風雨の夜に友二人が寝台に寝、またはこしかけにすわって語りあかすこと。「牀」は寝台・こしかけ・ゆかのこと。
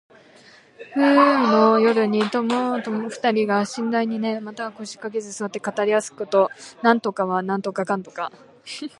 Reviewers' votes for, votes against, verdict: 1, 3, rejected